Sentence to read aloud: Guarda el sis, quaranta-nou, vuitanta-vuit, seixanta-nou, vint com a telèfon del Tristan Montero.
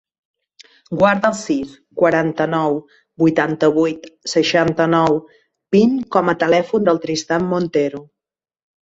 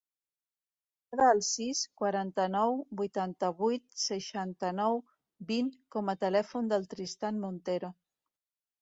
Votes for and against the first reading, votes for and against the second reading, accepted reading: 2, 0, 1, 2, first